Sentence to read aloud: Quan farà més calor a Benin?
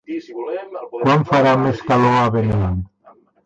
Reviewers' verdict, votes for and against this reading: rejected, 0, 2